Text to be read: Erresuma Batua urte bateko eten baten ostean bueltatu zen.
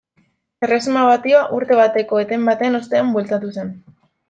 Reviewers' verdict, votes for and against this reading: rejected, 1, 2